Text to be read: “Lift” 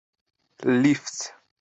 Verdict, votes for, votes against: accepted, 2, 0